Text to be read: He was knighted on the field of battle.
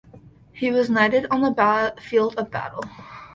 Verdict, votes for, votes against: rejected, 1, 2